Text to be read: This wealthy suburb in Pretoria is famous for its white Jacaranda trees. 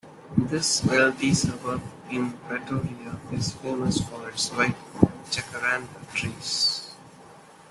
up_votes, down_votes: 0, 2